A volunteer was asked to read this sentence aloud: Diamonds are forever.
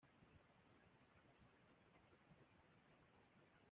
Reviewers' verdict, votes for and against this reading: rejected, 0, 2